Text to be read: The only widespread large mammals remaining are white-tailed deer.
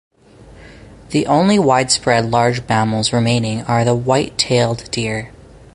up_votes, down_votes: 4, 0